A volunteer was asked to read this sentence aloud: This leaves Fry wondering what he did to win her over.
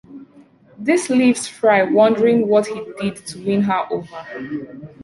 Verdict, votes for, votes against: accepted, 2, 0